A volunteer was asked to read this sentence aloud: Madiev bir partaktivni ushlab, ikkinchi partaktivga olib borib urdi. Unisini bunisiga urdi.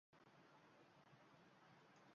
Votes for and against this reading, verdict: 0, 2, rejected